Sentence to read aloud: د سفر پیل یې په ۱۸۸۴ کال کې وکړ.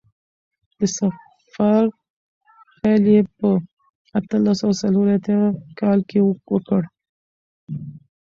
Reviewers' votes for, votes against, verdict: 0, 2, rejected